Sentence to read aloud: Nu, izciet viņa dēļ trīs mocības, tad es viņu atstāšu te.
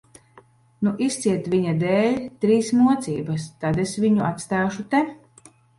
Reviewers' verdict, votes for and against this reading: accepted, 2, 0